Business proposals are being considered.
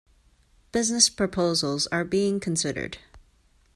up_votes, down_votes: 2, 0